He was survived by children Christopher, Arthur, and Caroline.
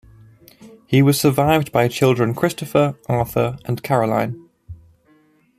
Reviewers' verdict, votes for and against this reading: accepted, 2, 0